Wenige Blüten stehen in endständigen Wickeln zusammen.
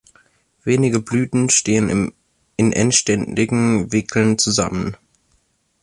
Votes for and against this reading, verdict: 0, 2, rejected